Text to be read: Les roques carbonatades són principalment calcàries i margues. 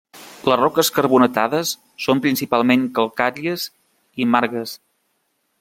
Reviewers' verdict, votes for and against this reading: accepted, 2, 0